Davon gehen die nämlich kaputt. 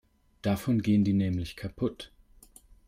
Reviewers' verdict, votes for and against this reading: accepted, 2, 0